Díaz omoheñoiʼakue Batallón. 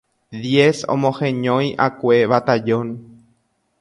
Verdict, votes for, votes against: rejected, 0, 2